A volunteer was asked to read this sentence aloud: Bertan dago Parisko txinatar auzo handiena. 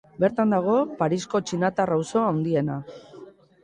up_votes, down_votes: 0, 2